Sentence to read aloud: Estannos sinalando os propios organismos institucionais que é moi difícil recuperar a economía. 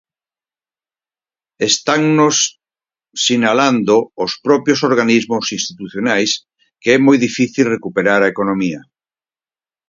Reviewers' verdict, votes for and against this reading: accepted, 4, 0